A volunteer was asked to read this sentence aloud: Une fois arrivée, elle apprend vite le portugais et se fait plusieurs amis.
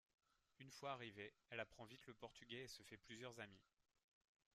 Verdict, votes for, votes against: rejected, 2, 3